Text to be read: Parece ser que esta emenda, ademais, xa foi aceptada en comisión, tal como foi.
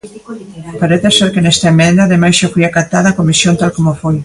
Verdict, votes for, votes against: rejected, 0, 2